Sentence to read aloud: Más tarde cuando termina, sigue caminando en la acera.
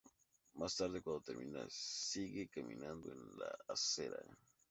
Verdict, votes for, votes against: accepted, 2, 0